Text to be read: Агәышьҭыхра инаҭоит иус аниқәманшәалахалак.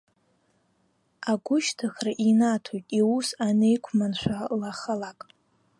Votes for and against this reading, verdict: 1, 2, rejected